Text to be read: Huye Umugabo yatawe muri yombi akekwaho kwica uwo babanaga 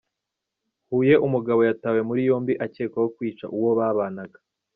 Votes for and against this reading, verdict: 2, 0, accepted